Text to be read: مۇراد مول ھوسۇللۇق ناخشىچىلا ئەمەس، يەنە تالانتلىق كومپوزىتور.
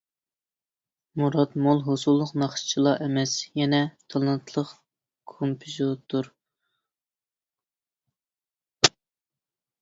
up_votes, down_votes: 1, 2